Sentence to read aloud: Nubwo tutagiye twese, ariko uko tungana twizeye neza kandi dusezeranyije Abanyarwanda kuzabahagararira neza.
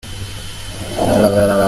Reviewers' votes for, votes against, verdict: 0, 3, rejected